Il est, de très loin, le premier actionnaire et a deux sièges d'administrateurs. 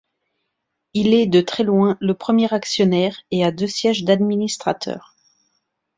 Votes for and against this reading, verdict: 2, 0, accepted